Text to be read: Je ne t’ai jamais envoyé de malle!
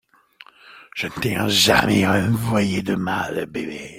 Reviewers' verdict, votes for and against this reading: rejected, 0, 2